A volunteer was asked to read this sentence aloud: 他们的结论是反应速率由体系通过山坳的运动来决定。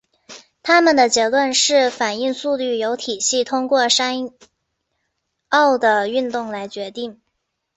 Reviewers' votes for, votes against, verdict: 4, 0, accepted